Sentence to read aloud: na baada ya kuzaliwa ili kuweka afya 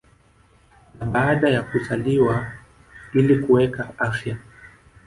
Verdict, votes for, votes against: accepted, 2, 0